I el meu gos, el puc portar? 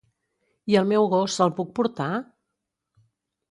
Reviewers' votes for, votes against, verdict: 2, 0, accepted